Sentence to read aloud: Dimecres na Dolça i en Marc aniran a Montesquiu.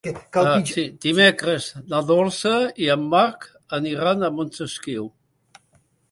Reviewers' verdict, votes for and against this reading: rejected, 1, 3